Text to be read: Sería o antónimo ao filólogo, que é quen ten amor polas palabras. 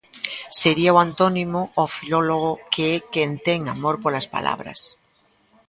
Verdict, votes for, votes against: accepted, 2, 0